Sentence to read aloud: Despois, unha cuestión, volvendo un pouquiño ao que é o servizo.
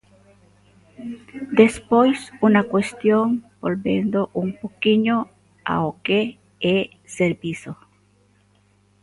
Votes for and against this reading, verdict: 0, 2, rejected